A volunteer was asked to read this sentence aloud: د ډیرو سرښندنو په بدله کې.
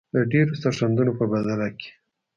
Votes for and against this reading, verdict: 2, 1, accepted